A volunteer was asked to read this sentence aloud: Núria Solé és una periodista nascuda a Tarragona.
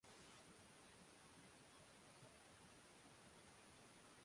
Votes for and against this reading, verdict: 0, 2, rejected